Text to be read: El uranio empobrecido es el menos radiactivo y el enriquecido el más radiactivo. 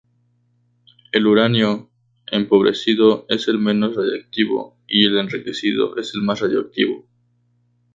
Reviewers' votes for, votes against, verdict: 0, 2, rejected